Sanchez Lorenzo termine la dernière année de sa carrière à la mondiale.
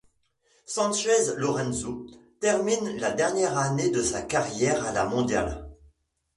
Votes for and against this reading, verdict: 0, 2, rejected